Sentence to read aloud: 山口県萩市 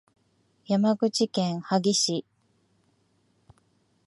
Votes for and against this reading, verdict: 2, 0, accepted